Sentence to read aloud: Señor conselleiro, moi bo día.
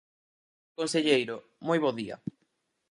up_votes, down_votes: 0, 4